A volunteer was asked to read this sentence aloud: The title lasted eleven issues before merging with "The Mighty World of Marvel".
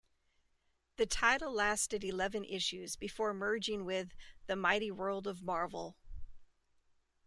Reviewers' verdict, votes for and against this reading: accepted, 2, 0